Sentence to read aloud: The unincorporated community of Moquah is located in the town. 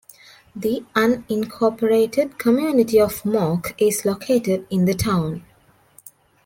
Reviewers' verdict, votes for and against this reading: rejected, 0, 2